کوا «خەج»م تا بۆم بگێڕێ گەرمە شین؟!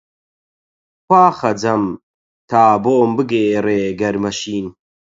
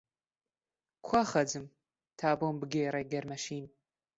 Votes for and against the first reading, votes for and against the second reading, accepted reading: 0, 4, 2, 0, second